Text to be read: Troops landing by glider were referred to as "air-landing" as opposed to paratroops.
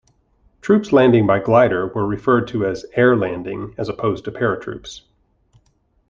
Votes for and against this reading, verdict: 2, 0, accepted